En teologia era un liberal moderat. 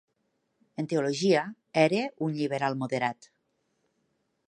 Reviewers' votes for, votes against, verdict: 2, 1, accepted